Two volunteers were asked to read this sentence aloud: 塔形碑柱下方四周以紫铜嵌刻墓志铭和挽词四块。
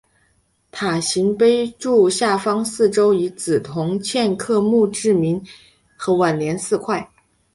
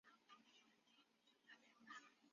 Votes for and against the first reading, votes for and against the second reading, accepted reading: 4, 0, 0, 2, first